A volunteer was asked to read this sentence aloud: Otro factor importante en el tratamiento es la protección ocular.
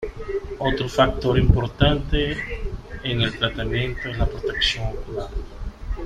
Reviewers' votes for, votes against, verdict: 0, 2, rejected